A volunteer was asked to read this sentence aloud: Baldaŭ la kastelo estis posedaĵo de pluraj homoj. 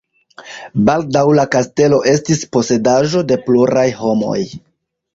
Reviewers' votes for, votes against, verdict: 2, 0, accepted